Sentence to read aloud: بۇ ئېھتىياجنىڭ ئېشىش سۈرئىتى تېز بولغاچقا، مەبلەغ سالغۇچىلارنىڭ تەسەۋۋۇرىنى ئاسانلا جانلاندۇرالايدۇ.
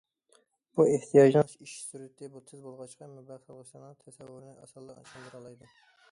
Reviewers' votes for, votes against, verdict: 0, 2, rejected